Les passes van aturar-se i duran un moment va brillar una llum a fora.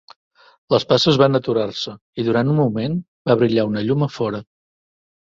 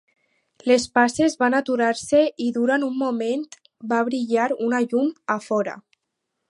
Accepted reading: first